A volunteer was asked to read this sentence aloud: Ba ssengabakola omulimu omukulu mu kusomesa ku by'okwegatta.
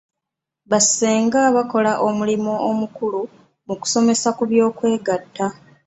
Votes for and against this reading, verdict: 0, 2, rejected